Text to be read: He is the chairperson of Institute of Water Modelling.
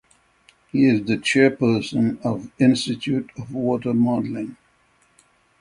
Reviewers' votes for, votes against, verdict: 3, 0, accepted